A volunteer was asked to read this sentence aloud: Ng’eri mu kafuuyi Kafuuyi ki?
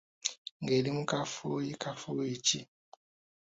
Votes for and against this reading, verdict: 2, 0, accepted